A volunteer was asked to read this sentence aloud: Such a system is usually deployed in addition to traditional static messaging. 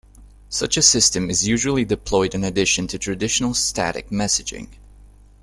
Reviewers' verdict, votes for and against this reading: accepted, 2, 0